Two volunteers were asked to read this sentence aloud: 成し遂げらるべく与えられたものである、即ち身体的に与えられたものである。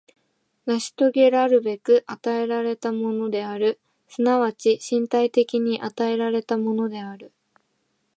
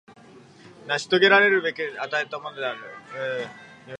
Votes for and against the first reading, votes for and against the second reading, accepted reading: 2, 0, 0, 2, first